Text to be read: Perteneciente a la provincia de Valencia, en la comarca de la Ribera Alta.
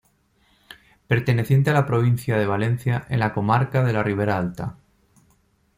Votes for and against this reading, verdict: 2, 0, accepted